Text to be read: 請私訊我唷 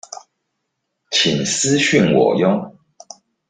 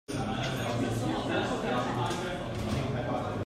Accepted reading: first